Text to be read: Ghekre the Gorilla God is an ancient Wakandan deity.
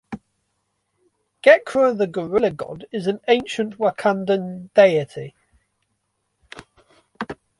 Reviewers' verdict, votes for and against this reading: rejected, 0, 2